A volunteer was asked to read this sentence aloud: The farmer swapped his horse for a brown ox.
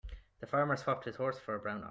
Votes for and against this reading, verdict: 1, 2, rejected